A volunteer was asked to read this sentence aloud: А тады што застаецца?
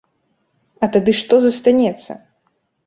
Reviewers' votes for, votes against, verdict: 0, 2, rejected